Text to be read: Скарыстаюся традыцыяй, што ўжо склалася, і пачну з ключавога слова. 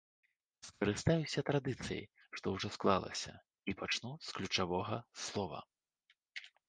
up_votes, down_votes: 2, 0